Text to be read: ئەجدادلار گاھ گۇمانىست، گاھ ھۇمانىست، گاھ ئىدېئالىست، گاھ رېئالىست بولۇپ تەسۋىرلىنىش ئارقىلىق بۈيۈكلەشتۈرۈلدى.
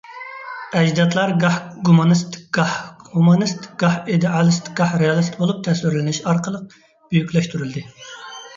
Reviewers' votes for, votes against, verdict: 2, 1, accepted